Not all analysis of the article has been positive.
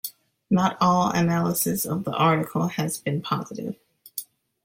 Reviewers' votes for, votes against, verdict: 2, 0, accepted